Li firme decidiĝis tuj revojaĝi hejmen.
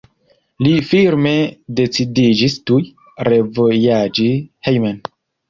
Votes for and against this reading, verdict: 0, 2, rejected